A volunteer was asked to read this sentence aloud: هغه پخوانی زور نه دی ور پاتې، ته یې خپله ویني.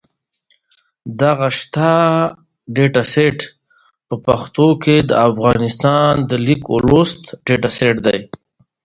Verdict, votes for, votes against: rejected, 1, 2